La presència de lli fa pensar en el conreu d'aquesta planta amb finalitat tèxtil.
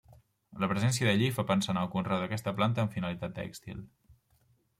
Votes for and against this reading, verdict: 3, 0, accepted